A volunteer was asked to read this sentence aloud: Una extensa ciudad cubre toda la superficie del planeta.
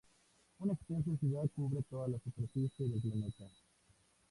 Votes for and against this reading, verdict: 0, 2, rejected